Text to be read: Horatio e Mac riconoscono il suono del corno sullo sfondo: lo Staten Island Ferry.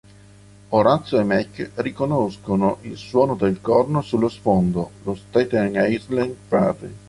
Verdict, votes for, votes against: rejected, 1, 3